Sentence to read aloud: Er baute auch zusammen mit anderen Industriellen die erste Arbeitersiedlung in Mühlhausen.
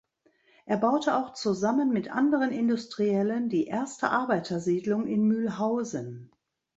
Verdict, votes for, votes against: accepted, 2, 0